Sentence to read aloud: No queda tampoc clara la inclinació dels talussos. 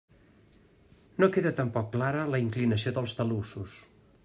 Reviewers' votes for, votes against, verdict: 3, 0, accepted